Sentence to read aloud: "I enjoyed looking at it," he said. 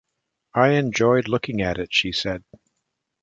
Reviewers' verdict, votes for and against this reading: rejected, 1, 2